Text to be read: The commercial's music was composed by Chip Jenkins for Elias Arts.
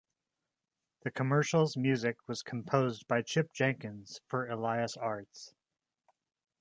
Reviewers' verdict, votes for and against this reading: accepted, 2, 1